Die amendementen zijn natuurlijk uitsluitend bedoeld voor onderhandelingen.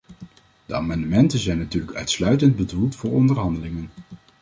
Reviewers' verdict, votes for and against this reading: rejected, 0, 2